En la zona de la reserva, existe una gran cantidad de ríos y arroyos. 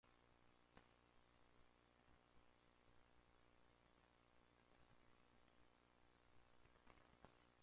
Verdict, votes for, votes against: rejected, 0, 2